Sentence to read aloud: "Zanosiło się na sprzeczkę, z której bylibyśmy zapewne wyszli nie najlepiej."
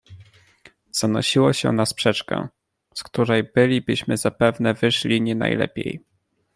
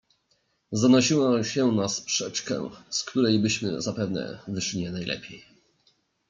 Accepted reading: first